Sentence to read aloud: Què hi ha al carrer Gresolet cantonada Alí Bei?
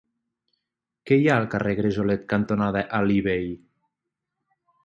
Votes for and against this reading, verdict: 6, 0, accepted